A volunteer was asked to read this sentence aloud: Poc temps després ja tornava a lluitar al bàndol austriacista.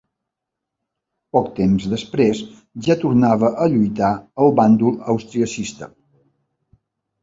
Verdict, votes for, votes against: accepted, 4, 0